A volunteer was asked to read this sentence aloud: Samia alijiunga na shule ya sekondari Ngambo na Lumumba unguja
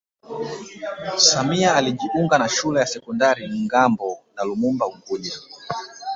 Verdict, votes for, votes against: accepted, 2, 0